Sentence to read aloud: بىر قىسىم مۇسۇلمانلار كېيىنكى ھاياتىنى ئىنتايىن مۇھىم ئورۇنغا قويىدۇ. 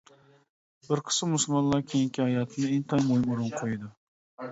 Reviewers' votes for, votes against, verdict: 2, 0, accepted